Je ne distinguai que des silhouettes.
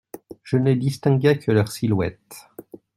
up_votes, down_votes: 0, 2